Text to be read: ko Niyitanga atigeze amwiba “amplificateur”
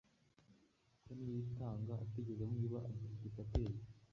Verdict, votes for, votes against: accepted, 2, 0